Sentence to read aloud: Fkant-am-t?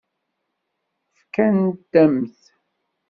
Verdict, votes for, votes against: rejected, 1, 2